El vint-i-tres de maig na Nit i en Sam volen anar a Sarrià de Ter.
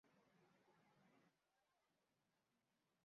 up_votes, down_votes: 0, 2